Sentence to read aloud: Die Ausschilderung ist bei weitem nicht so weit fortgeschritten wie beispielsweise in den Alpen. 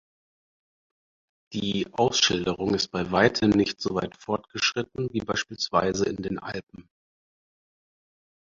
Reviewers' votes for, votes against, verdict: 4, 0, accepted